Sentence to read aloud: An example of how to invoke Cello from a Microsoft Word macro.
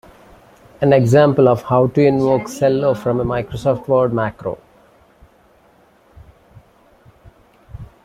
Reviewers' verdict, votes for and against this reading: accepted, 2, 1